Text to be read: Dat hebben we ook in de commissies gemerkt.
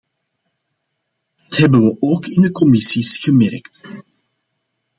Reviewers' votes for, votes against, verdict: 1, 2, rejected